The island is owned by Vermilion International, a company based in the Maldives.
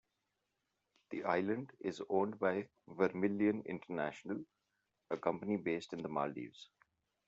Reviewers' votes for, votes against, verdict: 2, 0, accepted